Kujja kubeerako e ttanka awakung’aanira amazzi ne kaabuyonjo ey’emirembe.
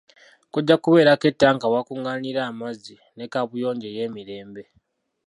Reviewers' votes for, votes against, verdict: 0, 2, rejected